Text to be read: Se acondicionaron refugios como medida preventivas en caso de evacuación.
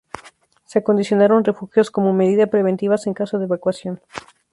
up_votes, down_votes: 4, 0